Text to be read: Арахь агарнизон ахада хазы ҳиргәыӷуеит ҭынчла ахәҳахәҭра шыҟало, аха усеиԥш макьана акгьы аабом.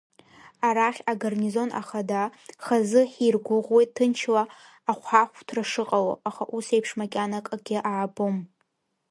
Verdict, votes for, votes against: accepted, 2, 0